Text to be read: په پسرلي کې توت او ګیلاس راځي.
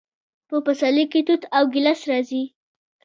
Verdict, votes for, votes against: accepted, 2, 1